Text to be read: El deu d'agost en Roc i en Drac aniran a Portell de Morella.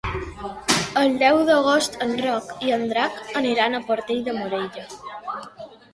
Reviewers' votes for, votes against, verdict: 2, 0, accepted